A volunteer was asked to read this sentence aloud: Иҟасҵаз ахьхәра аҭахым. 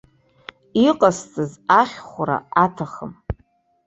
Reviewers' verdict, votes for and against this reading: accepted, 2, 0